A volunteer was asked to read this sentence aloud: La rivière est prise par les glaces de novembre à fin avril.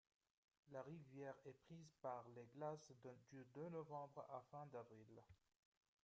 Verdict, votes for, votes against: rejected, 0, 2